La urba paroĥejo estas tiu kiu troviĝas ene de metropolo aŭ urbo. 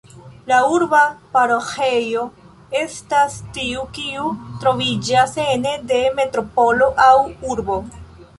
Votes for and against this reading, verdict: 2, 1, accepted